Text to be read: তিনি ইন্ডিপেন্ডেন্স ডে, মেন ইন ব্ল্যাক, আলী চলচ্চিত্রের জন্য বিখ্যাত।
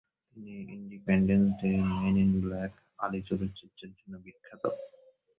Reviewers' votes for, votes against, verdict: 0, 3, rejected